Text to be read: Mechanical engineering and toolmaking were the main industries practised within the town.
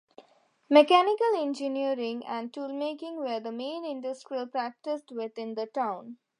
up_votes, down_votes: 1, 2